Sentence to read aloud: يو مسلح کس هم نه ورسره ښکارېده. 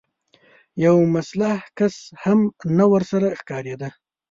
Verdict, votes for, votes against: rejected, 0, 2